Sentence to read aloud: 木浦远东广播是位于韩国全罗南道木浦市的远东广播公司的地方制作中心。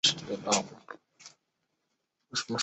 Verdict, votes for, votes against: rejected, 1, 2